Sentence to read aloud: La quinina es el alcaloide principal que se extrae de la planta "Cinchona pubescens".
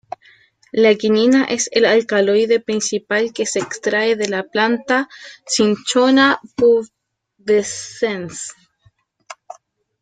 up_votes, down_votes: 0, 2